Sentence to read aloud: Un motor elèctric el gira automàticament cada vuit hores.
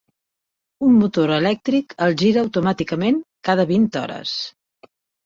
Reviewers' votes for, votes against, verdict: 0, 2, rejected